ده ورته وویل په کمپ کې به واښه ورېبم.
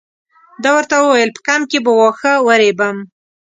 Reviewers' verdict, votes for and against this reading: accepted, 2, 0